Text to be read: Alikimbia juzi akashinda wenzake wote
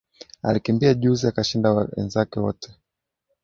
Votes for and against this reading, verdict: 0, 2, rejected